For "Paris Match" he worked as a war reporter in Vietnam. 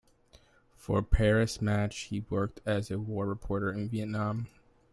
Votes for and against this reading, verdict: 2, 0, accepted